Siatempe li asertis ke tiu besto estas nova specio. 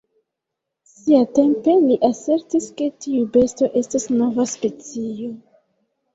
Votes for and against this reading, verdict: 0, 3, rejected